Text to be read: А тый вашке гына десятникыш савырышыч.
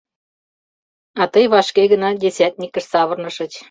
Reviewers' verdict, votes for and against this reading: rejected, 0, 2